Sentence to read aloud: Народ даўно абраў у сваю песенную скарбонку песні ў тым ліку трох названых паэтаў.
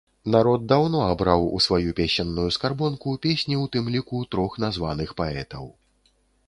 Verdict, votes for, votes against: accepted, 2, 0